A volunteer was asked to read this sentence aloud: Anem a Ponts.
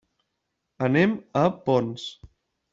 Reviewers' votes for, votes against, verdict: 3, 0, accepted